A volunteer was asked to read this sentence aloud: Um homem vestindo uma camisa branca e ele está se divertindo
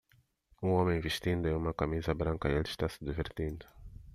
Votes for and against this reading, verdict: 2, 1, accepted